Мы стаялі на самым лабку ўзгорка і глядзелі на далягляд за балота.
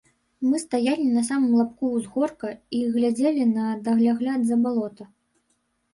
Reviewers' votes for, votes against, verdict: 0, 2, rejected